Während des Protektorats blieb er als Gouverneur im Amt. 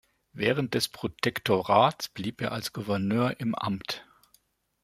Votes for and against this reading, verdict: 2, 0, accepted